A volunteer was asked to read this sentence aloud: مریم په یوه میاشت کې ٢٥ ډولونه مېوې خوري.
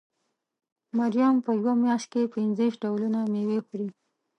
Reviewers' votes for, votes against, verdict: 0, 2, rejected